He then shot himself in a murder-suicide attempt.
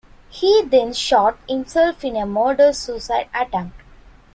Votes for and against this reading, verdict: 2, 0, accepted